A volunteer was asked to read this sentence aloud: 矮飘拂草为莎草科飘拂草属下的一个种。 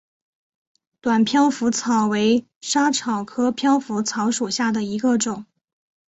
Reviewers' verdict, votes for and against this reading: rejected, 1, 2